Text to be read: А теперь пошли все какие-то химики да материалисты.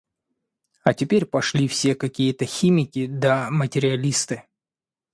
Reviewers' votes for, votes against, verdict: 2, 0, accepted